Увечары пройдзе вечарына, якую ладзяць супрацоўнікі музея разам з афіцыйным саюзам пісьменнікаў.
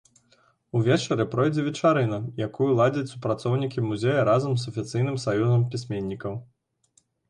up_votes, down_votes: 2, 0